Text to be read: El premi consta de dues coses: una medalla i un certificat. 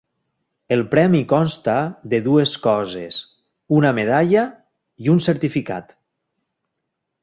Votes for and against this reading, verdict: 4, 0, accepted